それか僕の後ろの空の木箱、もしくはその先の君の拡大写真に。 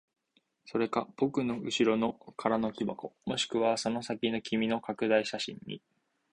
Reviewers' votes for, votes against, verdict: 2, 1, accepted